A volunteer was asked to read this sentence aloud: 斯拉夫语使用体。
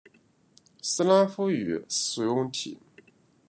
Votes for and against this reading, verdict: 2, 0, accepted